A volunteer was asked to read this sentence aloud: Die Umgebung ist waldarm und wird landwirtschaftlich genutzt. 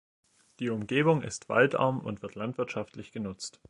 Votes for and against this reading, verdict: 2, 0, accepted